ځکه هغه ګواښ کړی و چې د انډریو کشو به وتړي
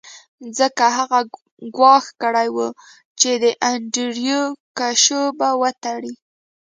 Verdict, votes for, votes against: accepted, 2, 0